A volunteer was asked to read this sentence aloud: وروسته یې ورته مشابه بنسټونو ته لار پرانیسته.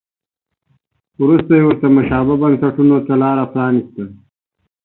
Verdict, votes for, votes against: accepted, 2, 0